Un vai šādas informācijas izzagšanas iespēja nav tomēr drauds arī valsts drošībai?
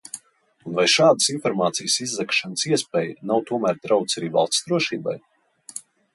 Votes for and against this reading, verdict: 2, 0, accepted